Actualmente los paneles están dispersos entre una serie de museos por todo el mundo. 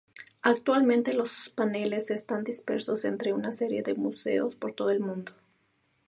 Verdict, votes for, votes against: accepted, 2, 0